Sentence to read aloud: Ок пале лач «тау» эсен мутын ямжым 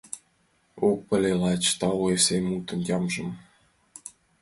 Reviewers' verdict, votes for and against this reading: accepted, 2, 0